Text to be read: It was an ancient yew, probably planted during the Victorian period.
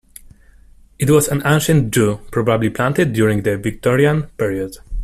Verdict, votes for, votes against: rejected, 1, 2